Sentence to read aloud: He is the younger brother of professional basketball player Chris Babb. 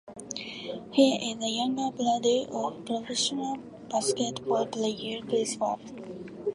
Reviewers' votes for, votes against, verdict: 1, 2, rejected